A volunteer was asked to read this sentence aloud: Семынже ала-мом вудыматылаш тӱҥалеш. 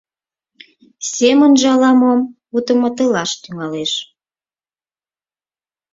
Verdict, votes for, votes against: accepted, 4, 0